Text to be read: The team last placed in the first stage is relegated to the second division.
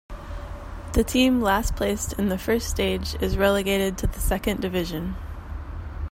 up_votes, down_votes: 2, 0